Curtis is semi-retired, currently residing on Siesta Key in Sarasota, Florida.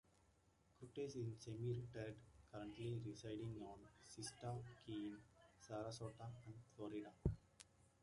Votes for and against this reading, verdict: 0, 2, rejected